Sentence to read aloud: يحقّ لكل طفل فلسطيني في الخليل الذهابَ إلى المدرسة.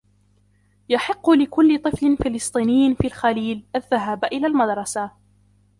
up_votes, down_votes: 2, 0